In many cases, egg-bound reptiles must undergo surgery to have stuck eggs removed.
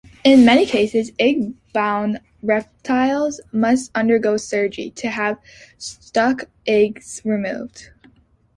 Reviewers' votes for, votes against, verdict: 4, 1, accepted